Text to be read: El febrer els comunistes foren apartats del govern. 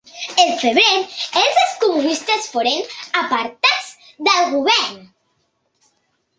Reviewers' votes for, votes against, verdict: 0, 2, rejected